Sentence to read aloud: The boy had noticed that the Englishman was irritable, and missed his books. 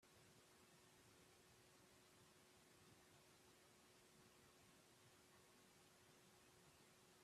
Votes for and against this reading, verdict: 0, 2, rejected